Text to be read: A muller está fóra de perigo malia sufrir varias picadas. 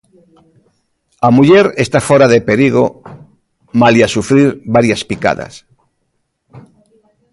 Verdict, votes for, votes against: rejected, 1, 2